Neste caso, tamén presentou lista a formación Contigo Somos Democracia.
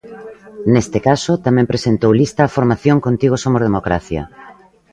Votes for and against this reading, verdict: 2, 0, accepted